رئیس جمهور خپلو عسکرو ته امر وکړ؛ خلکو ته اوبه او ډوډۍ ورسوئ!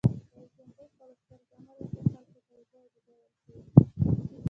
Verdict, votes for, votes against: rejected, 0, 2